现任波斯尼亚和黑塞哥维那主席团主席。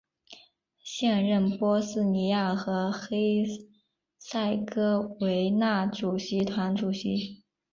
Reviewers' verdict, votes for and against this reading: accepted, 3, 1